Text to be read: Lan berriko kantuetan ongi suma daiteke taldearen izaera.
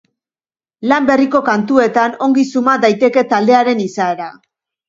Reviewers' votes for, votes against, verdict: 3, 0, accepted